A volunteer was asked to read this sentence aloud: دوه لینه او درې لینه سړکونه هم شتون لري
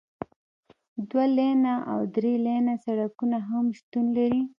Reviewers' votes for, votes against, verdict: 1, 2, rejected